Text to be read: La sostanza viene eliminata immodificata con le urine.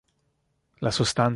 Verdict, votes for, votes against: rejected, 0, 2